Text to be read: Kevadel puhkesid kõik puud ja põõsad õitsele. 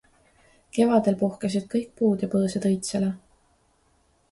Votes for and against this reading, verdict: 2, 0, accepted